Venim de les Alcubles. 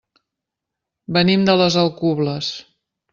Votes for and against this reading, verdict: 3, 0, accepted